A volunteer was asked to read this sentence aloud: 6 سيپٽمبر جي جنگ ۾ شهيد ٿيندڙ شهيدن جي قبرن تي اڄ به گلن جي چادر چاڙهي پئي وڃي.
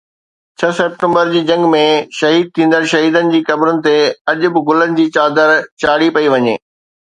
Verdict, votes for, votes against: rejected, 0, 2